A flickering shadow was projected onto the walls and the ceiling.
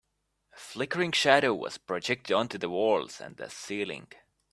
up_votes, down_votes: 0, 2